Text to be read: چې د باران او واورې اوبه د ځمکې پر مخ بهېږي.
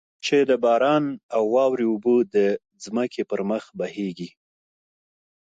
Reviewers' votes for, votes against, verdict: 2, 1, accepted